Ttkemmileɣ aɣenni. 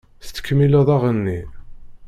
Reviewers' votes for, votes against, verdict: 0, 2, rejected